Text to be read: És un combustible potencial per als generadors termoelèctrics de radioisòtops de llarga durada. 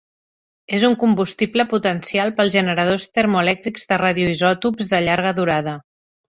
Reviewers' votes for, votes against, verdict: 1, 2, rejected